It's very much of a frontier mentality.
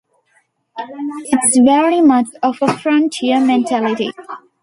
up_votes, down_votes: 1, 2